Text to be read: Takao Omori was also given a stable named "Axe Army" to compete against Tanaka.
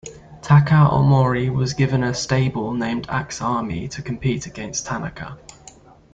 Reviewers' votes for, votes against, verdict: 1, 2, rejected